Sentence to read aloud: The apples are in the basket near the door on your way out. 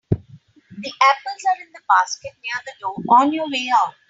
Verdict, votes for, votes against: rejected, 2, 3